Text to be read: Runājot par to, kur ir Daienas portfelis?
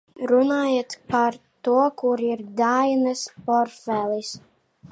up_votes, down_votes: 0, 2